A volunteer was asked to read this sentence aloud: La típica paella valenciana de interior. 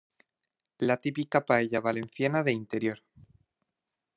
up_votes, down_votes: 2, 0